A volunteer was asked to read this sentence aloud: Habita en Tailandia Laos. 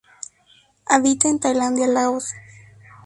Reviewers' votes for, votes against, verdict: 2, 0, accepted